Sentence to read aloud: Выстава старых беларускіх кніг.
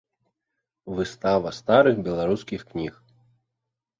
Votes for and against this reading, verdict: 1, 2, rejected